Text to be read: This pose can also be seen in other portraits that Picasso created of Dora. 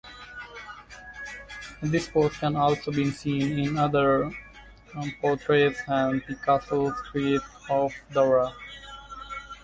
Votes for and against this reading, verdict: 1, 2, rejected